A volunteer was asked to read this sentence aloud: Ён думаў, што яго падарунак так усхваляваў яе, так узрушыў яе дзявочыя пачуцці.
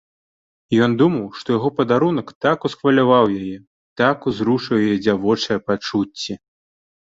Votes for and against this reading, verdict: 2, 0, accepted